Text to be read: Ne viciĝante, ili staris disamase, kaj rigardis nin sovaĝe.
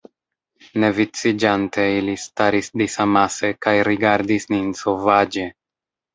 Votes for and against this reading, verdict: 1, 2, rejected